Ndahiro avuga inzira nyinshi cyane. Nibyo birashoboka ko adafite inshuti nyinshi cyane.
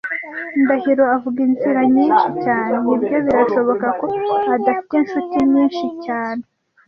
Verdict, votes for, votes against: accepted, 2, 0